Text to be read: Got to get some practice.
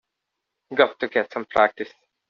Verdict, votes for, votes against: rejected, 1, 2